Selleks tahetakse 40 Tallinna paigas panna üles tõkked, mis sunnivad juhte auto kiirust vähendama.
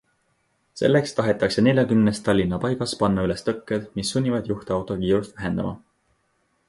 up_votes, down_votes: 0, 2